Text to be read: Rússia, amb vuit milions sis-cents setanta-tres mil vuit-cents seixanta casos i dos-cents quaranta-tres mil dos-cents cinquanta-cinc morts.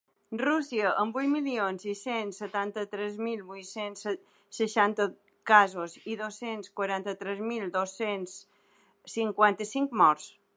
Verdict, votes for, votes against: rejected, 1, 2